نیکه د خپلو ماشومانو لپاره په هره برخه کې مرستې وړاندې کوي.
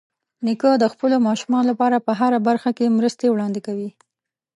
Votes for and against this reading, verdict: 4, 0, accepted